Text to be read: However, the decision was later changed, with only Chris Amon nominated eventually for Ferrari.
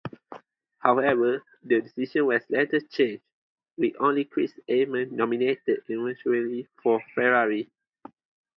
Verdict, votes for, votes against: accepted, 2, 0